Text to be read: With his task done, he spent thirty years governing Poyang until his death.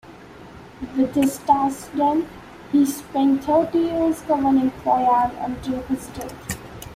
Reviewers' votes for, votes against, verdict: 2, 0, accepted